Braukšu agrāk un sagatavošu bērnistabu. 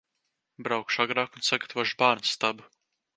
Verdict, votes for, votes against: accepted, 2, 0